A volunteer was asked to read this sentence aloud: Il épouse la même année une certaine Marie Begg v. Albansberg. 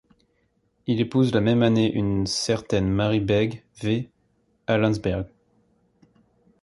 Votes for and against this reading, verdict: 1, 2, rejected